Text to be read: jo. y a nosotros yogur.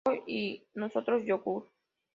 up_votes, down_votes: 0, 2